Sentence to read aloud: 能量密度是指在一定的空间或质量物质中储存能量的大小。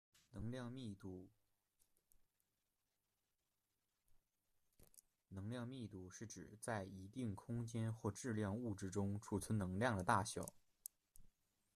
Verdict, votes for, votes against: rejected, 0, 2